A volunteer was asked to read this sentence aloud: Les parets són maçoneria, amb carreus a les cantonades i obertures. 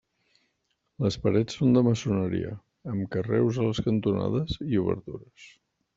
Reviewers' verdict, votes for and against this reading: rejected, 1, 2